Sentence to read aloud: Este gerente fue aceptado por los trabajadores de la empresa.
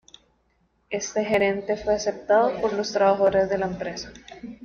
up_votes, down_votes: 0, 2